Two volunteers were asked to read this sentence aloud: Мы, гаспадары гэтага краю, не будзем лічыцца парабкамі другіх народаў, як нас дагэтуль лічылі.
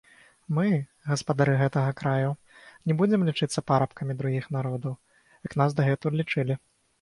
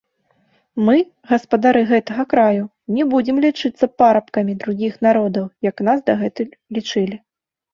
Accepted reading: second